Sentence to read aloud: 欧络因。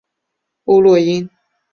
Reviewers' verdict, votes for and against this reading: accepted, 5, 0